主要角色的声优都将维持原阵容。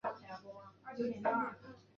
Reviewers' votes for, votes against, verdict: 0, 2, rejected